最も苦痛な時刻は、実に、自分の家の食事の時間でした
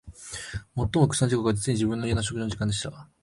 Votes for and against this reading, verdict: 0, 2, rejected